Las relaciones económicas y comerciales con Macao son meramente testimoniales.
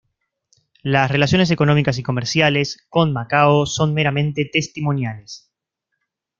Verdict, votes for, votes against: accepted, 2, 0